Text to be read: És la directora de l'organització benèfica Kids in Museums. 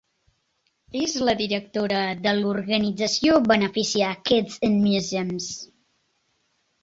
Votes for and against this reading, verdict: 0, 2, rejected